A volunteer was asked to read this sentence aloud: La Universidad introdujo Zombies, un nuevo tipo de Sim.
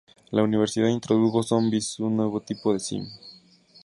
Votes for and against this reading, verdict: 0, 2, rejected